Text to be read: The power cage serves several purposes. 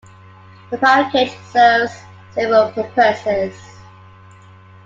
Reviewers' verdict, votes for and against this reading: accepted, 2, 1